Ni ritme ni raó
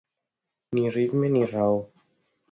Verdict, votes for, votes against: accepted, 2, 0